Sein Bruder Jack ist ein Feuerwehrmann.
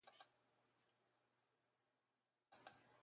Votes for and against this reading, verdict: 0, 2, rejected